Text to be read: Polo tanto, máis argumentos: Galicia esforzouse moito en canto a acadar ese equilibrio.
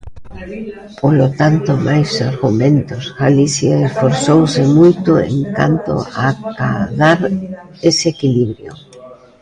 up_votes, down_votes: 1, 2